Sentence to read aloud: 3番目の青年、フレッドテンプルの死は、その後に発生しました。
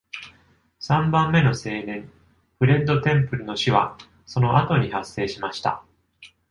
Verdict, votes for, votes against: rejected, 0, 2